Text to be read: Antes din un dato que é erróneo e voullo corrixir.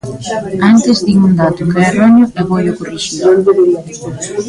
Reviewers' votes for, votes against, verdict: 0, 2, rejected